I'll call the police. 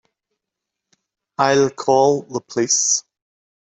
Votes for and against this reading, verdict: 1, 2, rejected